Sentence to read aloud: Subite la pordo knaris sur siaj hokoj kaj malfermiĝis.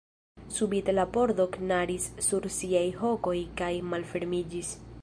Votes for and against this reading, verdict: 2, 0, accepted